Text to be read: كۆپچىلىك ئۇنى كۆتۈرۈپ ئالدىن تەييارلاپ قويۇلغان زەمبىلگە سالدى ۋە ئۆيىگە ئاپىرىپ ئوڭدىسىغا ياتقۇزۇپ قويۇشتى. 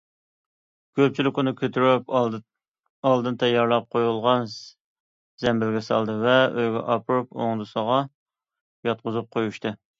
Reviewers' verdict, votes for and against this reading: rejected, 1, 2